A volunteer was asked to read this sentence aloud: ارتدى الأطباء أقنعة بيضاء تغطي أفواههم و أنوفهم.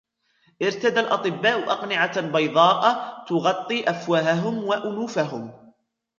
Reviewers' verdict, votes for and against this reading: rejected, 1, 2